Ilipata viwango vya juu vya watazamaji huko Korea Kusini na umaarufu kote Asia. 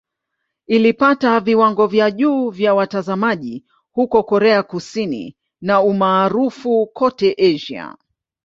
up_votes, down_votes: 2, 0